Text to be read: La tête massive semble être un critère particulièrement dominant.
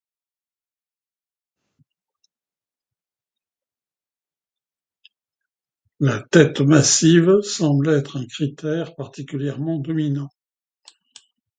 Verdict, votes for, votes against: rejected, 1, 2